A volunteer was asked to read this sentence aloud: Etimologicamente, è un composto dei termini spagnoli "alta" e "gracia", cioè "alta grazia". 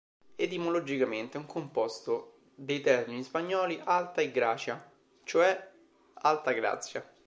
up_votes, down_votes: 2, 0